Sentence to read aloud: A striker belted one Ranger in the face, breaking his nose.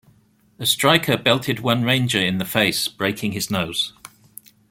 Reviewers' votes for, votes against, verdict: 2, 0, accepted